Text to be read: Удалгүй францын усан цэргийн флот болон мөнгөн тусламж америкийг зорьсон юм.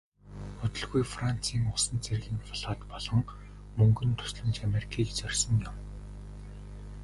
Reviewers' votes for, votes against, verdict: 1, 2, rejected